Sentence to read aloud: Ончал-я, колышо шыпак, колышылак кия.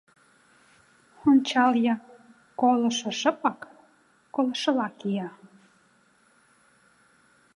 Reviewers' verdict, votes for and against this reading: rejected, 1, 2